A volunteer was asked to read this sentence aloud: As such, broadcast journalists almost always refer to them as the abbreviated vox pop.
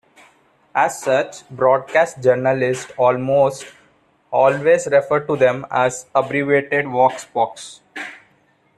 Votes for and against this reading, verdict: 0, 2, rejected